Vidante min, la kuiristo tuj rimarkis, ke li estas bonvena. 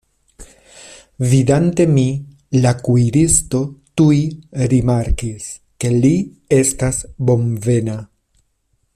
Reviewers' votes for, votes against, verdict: 1, 2, rejected